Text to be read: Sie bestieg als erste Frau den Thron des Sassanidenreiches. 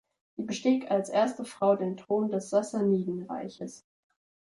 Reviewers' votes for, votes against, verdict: 2, 0, accepted